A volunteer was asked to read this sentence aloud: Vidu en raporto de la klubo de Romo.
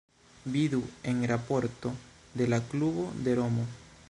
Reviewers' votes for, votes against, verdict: 1, 2, rejected